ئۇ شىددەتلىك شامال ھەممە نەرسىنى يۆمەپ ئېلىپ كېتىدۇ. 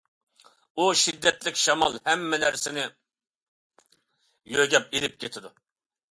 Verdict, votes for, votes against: accepted, 2, 1